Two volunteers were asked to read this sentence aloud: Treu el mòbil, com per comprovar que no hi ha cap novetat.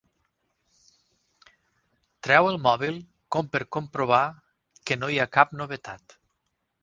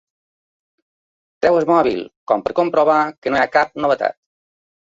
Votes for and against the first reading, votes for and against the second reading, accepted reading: 6, 0, 1, 2, first